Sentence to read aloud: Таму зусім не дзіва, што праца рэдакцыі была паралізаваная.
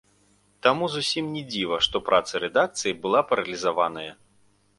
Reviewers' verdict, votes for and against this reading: rejected, 1, 2